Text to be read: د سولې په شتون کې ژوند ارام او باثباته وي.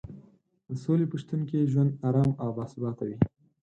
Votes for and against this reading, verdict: 0, 4, rejected